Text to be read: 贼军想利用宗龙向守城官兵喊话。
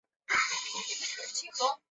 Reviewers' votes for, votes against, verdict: 0, 3, rejected